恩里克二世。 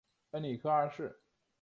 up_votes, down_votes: 1, 2